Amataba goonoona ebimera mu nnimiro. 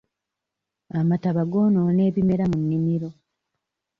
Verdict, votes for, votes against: accepted, 2, 1